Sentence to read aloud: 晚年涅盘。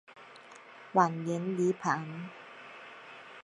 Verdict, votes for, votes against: rejected, 0, 2